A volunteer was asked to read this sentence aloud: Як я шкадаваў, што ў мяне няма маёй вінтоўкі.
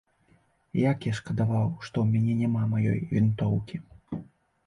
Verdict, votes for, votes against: accepted, 2, 0